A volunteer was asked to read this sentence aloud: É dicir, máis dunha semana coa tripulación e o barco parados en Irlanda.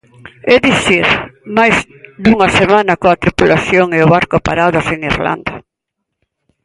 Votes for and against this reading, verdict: 2, 1, accepted